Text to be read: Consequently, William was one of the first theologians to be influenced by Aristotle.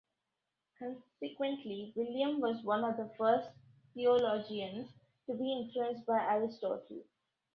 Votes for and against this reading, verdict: 1, 2, rejected